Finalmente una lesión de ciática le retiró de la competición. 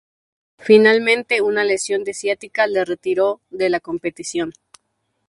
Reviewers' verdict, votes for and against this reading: accepted, 2, 0